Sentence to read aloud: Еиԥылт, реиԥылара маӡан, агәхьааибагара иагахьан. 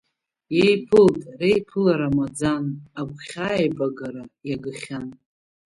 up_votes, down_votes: 1, 2